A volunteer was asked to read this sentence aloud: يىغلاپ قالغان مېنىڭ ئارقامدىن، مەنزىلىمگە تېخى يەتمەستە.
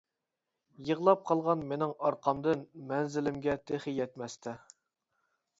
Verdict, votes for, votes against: accepted, 3, 0